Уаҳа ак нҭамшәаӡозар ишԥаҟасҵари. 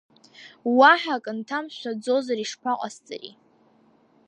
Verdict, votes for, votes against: accepted, 2, 0